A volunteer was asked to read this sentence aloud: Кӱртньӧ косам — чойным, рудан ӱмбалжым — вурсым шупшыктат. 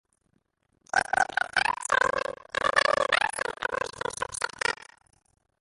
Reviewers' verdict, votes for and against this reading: rejected, 0, 2